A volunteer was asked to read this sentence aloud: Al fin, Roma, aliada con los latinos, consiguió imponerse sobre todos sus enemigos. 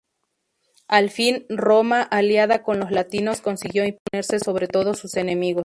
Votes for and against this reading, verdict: 2, 0, accepted